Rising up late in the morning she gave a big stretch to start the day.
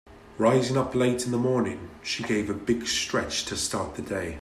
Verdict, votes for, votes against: accepted, 2, 0